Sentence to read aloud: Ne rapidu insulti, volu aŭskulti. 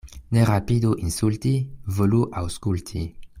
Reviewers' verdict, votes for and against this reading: accepted, 2, 0